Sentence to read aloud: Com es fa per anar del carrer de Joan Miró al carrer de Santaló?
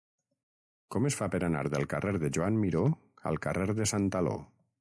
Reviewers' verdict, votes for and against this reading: rejected, 3, 3